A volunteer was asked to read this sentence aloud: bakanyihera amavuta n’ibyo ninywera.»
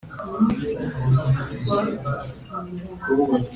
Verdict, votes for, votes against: rejected, 1, 2